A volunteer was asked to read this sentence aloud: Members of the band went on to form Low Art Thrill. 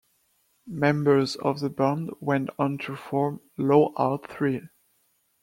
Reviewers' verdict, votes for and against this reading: accepted, 2, 1